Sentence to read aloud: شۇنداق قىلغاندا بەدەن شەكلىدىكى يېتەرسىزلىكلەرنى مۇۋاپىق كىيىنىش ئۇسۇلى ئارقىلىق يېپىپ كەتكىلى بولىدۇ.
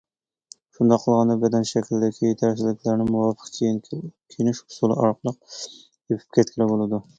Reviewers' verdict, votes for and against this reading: rejected, 0, 2